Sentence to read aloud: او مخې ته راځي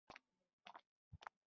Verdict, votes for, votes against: rejected, 1, 2